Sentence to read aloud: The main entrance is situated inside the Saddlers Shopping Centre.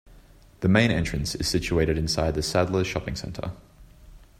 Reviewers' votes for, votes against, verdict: 2, 0, accepted